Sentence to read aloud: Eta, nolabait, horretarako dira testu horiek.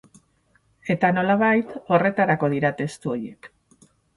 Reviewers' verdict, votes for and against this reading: rejected, 0, 4